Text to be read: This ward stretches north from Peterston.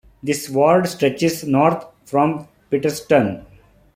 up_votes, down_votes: 2, 1